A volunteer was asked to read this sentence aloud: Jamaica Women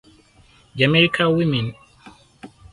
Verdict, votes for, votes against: accepted, 4, 0